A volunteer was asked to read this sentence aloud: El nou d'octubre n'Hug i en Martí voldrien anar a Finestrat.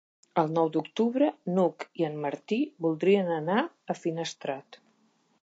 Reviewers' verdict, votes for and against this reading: accepted, 5, 0